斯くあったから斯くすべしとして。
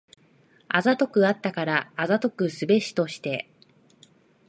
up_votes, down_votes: 0, 2